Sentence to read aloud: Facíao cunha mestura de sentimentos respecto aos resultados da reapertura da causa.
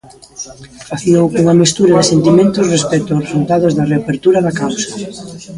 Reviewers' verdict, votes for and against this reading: accepted, 3, 1